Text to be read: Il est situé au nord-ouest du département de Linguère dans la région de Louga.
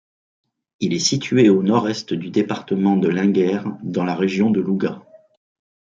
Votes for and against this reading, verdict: 1, 2, rejected